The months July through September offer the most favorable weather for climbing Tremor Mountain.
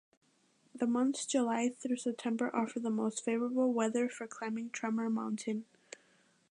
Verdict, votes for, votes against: accepted, 2, 0